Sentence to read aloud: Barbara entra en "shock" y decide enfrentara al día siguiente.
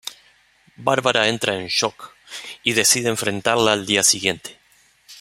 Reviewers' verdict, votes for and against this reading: rejected, 0, 2